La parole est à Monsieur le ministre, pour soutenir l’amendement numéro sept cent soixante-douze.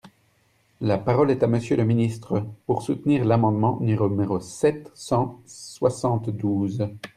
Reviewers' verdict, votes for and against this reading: rejected, 1, 2